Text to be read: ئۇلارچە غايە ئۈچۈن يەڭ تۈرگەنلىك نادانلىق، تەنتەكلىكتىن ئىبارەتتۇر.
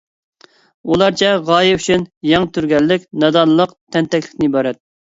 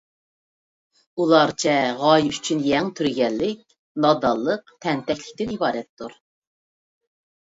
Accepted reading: second